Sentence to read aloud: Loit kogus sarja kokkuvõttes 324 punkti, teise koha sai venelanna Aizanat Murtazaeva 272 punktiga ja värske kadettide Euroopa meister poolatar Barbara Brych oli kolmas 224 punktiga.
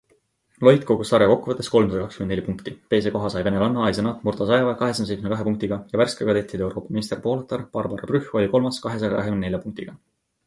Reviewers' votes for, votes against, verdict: 0, 2, rejected